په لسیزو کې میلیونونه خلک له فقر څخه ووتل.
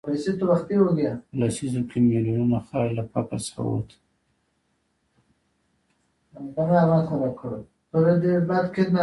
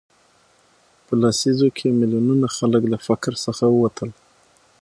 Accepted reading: second